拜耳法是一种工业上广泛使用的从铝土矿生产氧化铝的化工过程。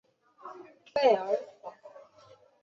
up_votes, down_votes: 2, 5